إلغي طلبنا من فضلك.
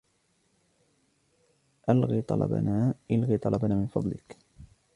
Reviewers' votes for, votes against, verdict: 0, 2, rejected